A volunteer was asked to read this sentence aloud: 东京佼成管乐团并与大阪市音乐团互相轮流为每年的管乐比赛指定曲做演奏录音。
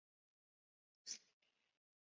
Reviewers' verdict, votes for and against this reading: rejected, 3, 3